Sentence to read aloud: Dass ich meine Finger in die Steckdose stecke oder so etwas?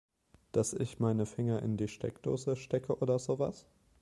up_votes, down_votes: 1, 2